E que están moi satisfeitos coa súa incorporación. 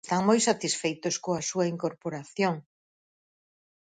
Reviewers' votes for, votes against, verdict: 0, 4, rejected